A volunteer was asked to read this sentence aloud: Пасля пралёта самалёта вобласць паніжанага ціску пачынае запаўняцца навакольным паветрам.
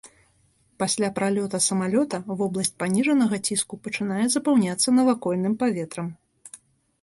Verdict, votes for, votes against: accepted, 2, 0